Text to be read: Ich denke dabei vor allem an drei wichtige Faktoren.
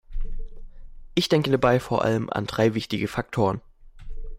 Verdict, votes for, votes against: accepted, 2, 0